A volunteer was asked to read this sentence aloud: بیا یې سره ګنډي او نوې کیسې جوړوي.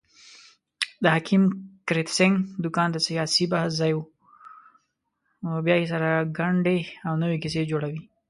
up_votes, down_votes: 0, 2